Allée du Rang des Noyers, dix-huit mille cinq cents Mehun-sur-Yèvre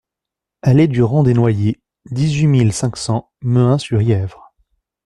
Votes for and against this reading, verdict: 2, 0, accepted